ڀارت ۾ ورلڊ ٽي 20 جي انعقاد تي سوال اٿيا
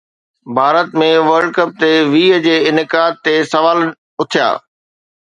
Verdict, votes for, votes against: rejected, 0, 2